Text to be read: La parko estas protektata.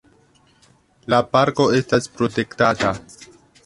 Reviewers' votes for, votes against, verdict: 2, 1, accepted